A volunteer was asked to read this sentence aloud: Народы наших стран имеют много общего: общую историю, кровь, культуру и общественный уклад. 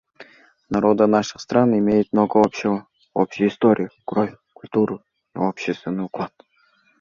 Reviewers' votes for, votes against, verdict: 2, 1, accepted